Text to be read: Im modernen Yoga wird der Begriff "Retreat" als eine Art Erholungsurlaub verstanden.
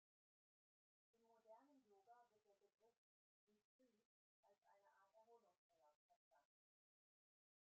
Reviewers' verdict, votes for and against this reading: rejected, 0, 2